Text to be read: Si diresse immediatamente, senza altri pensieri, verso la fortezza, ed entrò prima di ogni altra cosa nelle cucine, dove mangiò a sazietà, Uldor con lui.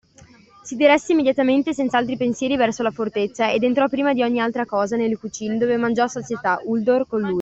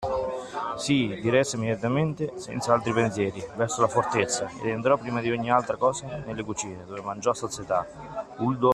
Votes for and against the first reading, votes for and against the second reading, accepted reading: 2, 0, 0, 2, first